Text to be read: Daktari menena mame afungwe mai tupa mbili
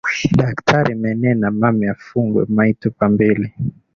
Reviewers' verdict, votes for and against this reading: accepted, 5, 3